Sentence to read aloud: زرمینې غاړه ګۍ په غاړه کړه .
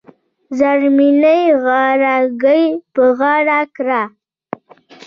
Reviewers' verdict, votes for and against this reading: accepted, 2, 1